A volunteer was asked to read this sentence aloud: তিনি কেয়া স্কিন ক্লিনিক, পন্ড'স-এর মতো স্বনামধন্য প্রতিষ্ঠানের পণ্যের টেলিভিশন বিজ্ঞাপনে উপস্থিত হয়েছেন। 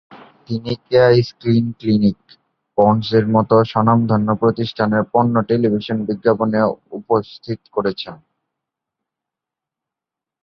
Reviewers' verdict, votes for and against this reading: rejected, 0, 2